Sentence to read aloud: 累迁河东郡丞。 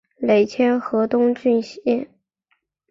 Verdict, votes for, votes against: rejected, 0, 2